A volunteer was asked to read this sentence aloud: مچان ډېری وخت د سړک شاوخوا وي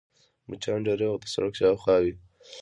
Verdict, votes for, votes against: rejected, 1, 2